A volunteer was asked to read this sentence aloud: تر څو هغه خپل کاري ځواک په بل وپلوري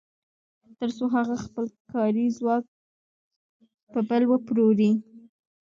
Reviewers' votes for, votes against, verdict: 1, 2, rejected